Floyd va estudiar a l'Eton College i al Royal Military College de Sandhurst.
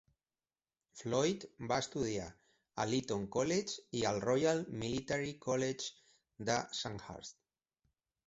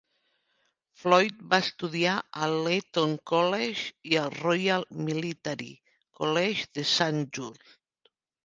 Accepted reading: first